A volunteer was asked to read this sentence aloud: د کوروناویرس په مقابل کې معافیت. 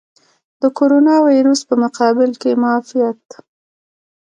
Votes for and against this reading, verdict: 0, 2, rejected